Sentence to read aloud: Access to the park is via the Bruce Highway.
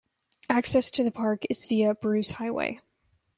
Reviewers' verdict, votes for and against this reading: rejected, 1, 2